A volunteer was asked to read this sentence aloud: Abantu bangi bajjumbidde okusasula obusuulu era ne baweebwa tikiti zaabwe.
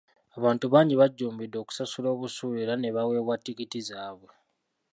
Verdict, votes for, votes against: rejected, 0, 2